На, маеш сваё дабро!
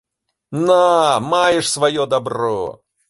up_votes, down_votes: 3, 0